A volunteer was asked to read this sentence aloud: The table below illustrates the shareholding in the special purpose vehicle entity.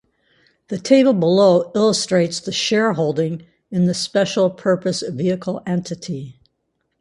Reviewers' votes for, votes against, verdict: 4, 0, accepted